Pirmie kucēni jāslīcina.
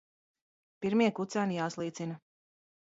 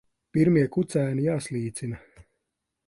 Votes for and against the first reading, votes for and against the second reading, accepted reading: 0, 2, 2, 0, second